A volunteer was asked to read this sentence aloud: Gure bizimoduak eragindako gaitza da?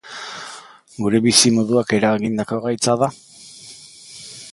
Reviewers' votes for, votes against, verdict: 3, 0, accepted